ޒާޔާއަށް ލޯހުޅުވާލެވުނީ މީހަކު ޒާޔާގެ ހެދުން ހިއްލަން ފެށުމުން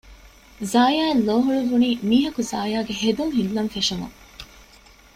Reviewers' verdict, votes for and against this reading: rejected, 1, 2